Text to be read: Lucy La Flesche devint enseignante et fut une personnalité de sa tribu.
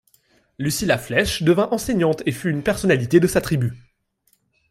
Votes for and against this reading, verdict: 2, 0, accepted